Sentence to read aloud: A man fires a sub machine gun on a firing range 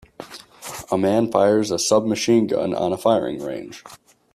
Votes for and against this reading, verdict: 3, 0, accepted